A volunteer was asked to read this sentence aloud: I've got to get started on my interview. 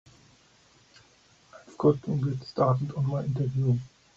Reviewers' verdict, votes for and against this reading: rejected, 2, 3